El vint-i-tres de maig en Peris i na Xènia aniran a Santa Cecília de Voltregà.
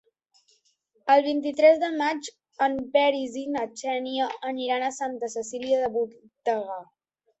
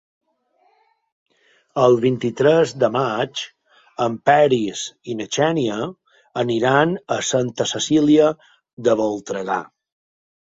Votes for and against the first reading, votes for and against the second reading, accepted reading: 0, 2, 3, 0, second